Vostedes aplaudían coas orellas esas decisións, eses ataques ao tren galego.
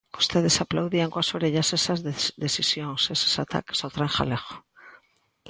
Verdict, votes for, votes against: rejected, 0, 2